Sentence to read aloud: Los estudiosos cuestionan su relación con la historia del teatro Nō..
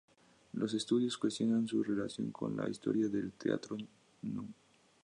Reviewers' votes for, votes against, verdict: 4, 0, accepted